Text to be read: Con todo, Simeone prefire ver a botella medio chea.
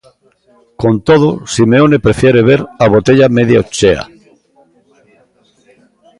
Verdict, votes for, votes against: rejected, 0, 2